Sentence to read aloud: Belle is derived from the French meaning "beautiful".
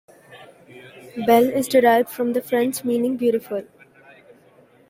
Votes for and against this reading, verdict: 2, 0, accepted